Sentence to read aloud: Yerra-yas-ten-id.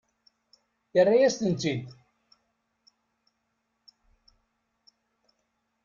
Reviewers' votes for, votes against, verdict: 2, 0, accepted